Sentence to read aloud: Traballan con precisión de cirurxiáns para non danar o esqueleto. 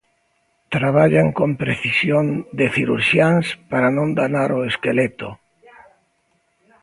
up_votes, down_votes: 2, 0